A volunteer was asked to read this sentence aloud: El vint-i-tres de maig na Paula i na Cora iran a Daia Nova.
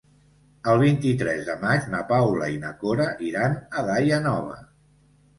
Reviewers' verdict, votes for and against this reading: accepted, 2, 0